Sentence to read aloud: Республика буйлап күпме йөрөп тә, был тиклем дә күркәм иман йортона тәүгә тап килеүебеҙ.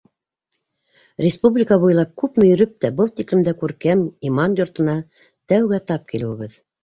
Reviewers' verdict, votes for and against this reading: accepted, 2, 0